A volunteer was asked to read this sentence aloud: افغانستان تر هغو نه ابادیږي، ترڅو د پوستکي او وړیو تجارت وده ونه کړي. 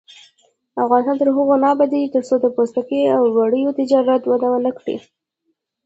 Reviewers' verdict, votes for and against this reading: rejected, 1, 2